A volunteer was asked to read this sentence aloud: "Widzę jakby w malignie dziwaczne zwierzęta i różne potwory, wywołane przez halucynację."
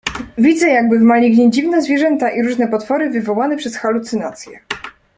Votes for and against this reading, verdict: 2, 0, accepted